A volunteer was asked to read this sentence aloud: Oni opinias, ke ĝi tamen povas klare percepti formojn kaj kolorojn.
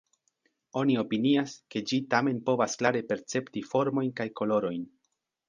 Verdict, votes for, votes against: accepted, 2, 0